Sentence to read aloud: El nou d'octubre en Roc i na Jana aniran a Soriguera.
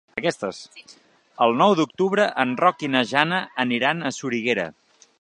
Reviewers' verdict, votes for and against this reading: rejected, 1, 2